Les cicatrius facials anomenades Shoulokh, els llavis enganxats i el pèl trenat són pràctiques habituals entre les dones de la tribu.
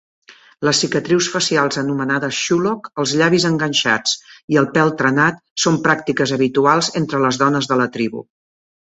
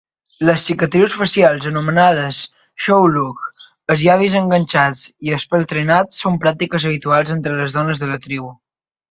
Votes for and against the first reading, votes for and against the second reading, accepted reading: 2, 0, 1, 2, first